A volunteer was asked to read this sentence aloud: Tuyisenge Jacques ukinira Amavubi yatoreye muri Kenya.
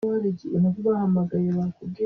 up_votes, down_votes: 0, 3